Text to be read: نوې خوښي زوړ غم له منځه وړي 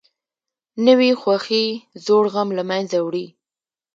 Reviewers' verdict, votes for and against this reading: accepted, 2, 0